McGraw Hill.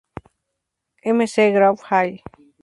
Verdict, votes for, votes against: rejected, 0, 2